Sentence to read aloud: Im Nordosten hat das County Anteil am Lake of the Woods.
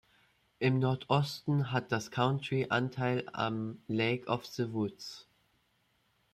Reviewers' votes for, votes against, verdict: 1, 2, rejected